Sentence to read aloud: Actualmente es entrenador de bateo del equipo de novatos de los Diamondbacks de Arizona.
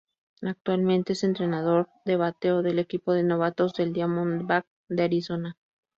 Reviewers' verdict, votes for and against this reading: rejected, 0, 2